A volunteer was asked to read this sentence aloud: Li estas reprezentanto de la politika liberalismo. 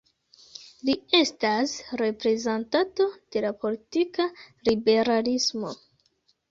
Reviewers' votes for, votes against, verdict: 0, 2, rejected